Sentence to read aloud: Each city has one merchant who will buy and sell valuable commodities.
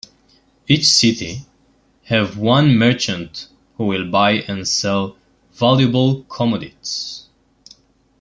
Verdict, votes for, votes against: rejected, 0, 2